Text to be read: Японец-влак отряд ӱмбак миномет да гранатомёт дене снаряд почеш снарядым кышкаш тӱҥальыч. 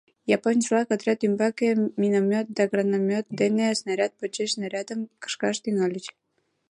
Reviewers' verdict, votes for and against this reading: accepted, 2, 1